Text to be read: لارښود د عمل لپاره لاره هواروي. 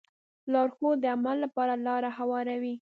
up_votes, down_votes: 1, 2